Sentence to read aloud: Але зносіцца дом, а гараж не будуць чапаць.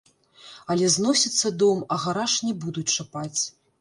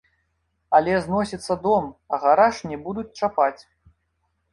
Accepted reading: second